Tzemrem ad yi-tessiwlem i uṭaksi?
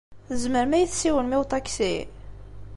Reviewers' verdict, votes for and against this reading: accepted, 2, 0